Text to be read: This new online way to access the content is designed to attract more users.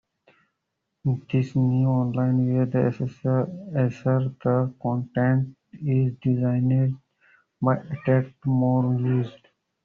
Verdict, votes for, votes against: rejected, 0, 2